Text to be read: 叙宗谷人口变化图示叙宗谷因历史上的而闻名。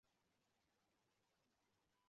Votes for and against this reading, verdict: 1, 2, rejected